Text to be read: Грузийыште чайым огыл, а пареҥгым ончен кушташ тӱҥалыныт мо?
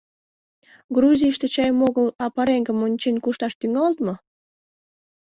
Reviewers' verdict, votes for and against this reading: rejected, 0, 2